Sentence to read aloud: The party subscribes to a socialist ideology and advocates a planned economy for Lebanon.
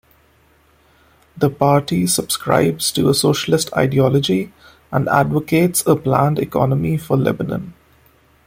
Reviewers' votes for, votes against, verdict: 1, 2, rejected